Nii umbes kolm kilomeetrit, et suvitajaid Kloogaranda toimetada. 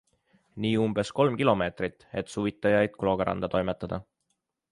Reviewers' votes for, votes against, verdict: 2, 0, accepted